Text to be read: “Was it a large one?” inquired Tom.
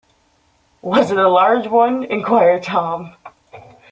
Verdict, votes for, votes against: accepted, 2, 1